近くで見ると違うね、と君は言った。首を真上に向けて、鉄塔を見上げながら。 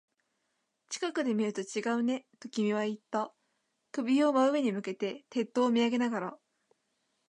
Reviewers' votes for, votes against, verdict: 3, 0, accepted